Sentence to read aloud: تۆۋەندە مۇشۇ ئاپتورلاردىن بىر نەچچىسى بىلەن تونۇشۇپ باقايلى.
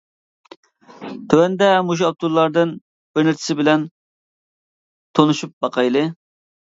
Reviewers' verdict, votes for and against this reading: accepted, 2, 1